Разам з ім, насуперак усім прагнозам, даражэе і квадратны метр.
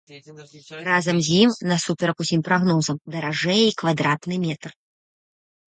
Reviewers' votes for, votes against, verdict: 0, 2, rejected